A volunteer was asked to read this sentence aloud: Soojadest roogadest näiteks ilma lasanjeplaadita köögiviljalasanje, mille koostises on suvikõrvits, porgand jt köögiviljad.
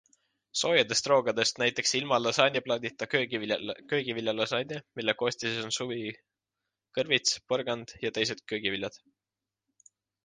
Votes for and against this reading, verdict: 1, 3, rejected